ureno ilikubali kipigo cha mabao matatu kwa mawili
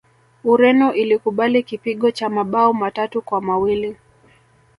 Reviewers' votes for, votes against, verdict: 0, 2, rejected